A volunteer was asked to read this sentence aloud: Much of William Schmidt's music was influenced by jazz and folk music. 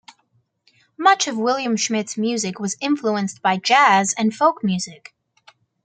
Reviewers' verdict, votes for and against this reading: accepted, 2, 0